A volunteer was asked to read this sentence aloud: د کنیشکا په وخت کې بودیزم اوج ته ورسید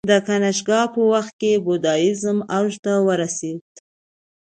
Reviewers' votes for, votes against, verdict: 1, 2, rejected